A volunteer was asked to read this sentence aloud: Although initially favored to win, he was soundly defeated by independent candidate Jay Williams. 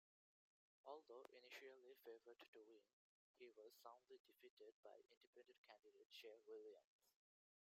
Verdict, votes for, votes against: rejected, 1, 2